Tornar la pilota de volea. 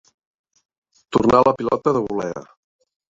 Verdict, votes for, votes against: rejected, 2, 4